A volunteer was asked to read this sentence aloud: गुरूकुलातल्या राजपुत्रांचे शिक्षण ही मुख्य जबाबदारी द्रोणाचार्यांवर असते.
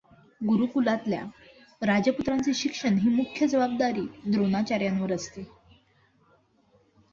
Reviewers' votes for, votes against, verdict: 2, 1, accepted